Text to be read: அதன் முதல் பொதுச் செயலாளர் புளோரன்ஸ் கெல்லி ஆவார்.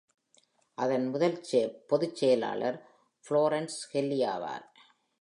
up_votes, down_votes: 2, 0